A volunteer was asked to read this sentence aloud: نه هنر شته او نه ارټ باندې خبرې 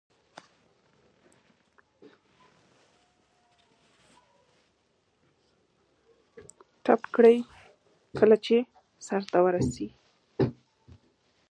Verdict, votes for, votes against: rejected, 1, 3